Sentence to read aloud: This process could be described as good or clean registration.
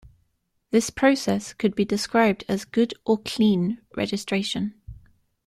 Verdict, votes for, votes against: accepted, 2, 0